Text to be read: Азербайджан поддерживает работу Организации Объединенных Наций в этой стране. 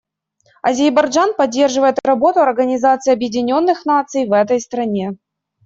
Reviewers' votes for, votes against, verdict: 1, 2, rejected